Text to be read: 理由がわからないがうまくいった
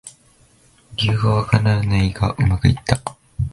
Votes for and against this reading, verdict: 1, 2, rejected